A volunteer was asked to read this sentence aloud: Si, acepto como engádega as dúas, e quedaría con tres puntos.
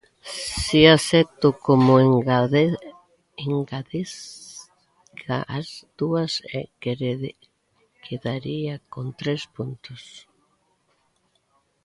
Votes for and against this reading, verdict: 0, 2, rejected